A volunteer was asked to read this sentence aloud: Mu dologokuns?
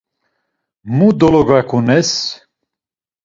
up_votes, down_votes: 0, 2